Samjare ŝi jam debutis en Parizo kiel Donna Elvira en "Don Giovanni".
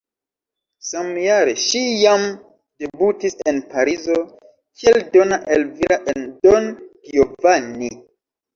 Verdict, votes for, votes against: accepted, 2, 0